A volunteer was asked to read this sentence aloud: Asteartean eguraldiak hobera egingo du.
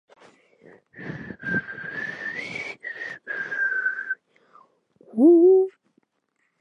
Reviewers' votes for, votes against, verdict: 0, 3, rejected